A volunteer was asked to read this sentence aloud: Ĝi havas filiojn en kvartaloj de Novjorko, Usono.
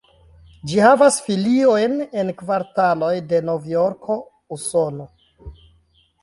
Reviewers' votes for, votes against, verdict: 2, 3, rejected